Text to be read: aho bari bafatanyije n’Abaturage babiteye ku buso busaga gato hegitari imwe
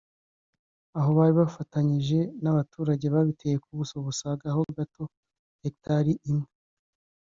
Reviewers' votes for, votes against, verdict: 1, 2, rejected